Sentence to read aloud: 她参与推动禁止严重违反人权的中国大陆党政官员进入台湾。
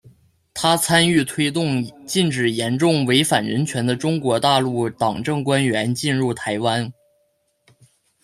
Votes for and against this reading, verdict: 2, 1, accepted